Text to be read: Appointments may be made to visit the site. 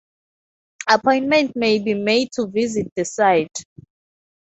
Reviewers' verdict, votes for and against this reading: rejected, 0, 2